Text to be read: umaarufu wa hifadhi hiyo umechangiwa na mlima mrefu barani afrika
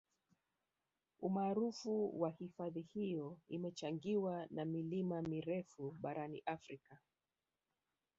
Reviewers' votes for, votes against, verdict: 1, 2, rejected